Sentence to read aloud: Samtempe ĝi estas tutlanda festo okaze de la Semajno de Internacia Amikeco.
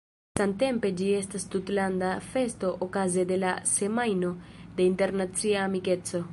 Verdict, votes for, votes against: rejected, 0, 2